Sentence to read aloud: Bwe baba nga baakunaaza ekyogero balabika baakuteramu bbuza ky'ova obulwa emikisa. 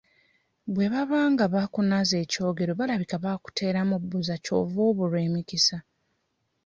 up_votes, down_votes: 1, 2